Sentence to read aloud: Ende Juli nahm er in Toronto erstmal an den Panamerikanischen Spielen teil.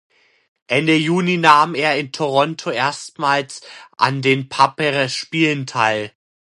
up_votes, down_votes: 0, 2